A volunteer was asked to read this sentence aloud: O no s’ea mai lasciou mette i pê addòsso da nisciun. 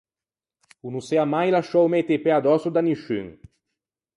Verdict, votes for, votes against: rejected, 2, 4